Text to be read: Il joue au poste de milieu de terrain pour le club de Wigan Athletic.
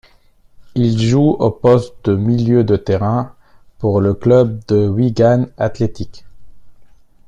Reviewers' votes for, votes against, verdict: 2, 1, accepted